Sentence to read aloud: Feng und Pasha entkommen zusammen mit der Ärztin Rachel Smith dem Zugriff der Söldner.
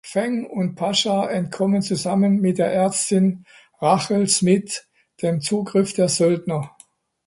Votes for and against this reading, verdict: 1, 2, rejected